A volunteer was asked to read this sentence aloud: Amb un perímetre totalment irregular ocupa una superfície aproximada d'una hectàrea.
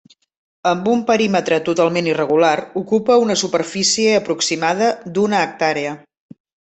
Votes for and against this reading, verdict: 2, 0, accepted